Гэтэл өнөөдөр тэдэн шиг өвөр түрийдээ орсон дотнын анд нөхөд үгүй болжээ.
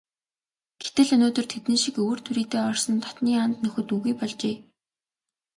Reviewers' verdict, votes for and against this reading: accepted, 2, 1